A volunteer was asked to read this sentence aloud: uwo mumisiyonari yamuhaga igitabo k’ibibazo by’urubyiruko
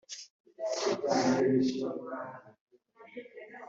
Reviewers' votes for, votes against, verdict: 1, 2, rejected